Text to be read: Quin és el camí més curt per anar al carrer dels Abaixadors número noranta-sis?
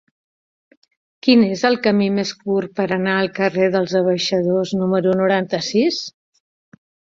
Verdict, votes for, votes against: accepted, 3, 1